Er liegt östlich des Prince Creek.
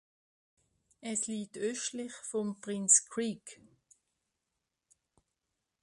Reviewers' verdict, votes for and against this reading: rejected, 0, 2